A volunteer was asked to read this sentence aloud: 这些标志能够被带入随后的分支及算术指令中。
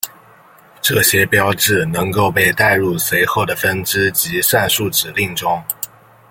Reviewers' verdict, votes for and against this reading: accepted, 2, 1